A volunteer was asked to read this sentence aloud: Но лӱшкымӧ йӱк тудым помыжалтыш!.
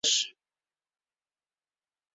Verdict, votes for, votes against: rejected, 0, 2